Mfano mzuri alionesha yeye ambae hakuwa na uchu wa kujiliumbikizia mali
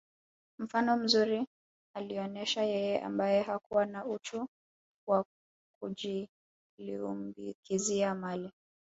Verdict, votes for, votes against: rejected, 2, 3